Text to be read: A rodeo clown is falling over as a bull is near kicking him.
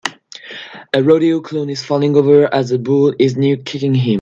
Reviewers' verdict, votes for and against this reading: rejected, 1, 2